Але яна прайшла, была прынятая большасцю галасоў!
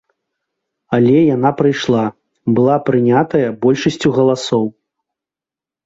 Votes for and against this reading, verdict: 1, 2, rejected